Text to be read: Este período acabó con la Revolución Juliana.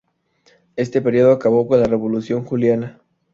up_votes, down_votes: 4, 0